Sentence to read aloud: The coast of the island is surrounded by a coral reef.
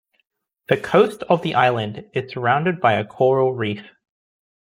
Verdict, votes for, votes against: accepted, 2, 1